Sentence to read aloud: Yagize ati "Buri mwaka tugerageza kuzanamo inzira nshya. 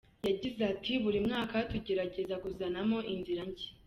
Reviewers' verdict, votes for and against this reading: accepted, 2, 1